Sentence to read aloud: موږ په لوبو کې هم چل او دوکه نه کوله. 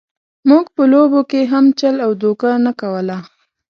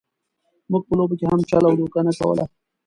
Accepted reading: first